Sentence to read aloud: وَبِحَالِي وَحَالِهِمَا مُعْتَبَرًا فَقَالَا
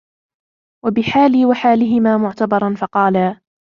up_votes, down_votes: 0, 2